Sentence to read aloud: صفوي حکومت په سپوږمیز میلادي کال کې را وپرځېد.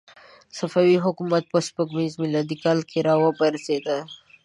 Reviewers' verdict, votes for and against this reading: accepted, 2, 1